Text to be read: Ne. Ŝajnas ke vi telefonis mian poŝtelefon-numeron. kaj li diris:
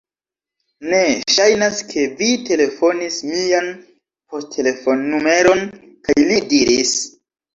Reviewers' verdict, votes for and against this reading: rejected, 0, 2